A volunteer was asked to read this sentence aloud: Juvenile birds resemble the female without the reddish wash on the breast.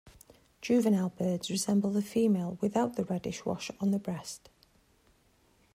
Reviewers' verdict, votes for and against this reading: accepted, 2, 0